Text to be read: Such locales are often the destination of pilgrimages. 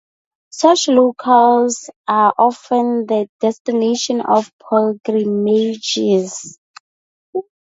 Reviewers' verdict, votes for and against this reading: accepted, 4, 0